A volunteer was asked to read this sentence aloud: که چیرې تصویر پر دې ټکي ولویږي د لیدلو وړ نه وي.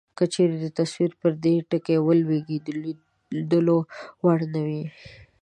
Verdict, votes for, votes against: rejected, 0, 2